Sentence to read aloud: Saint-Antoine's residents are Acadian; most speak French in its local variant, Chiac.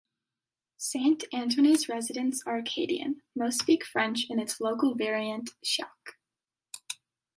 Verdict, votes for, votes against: accepted, 2, 0